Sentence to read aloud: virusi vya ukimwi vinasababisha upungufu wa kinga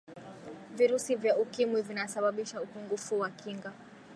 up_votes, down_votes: 4, 5